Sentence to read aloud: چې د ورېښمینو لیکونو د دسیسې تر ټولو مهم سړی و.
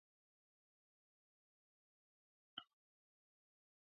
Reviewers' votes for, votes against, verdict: 0, 2, rejected